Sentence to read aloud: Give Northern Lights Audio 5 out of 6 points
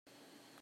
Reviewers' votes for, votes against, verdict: 0, 2, rejected